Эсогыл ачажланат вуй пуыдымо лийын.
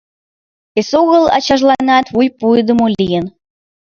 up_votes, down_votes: 2, 0